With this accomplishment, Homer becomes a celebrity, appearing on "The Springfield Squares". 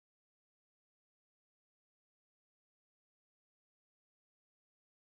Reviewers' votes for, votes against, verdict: 0, 3, rejected